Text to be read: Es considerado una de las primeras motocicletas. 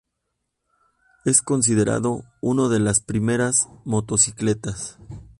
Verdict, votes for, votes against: rejected, 0, 2